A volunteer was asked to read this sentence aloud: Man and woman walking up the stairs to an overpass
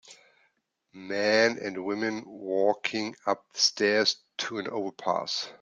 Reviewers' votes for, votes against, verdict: 0, 2, rejected